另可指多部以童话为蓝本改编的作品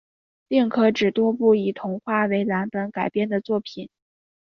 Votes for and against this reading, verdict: 3, 1, accepted